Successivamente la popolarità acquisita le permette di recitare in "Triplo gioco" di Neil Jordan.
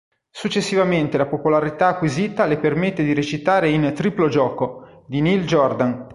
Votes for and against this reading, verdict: 2, 0, accepted